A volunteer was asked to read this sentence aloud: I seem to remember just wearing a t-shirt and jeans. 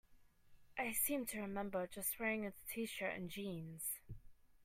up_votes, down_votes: 2, 0